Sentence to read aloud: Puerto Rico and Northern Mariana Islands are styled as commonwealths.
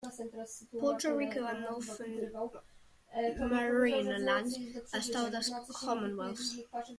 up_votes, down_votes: 0, 2